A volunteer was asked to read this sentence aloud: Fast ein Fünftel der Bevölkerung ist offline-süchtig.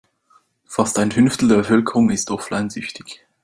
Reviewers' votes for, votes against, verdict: 2, 0, accepted